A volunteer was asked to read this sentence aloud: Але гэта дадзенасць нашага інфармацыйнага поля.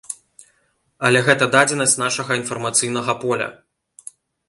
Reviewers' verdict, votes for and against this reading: accepted, 2, 0